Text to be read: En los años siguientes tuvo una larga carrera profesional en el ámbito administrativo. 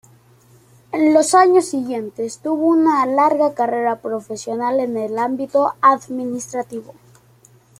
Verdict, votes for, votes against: accepted, 2, 0